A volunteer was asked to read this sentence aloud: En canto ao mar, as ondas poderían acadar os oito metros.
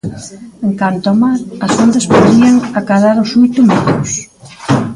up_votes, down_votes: 0, 2